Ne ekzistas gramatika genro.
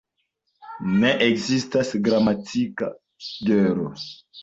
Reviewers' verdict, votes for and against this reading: accepted, 2, 0